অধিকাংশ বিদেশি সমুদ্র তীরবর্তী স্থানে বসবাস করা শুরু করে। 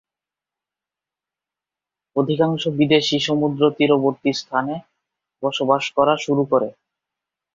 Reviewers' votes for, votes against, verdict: 2, 0, accepted